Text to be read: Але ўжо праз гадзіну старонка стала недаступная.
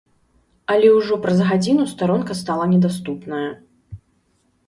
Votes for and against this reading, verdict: 2, 0, accepted